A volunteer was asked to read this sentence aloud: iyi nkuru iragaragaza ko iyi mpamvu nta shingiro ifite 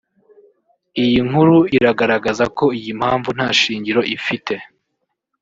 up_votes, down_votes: 1, 2